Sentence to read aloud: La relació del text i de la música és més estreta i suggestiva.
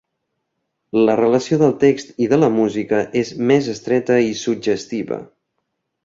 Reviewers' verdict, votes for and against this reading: accepted, 2, 1